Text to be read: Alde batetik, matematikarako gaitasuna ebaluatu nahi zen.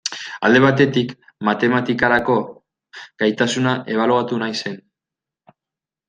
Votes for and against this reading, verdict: 2, 1, accepted